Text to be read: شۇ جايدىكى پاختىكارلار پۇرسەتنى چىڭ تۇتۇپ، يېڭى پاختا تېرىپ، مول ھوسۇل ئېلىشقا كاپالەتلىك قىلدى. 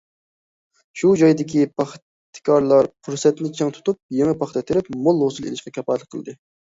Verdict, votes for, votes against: accepted, 2, 0